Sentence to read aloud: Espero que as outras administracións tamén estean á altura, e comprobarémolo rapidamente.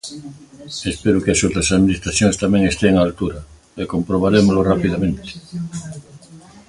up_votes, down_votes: 2, 0